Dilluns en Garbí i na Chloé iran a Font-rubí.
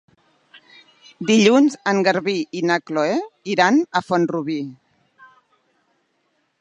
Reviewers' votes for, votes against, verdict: 2, 1, accepted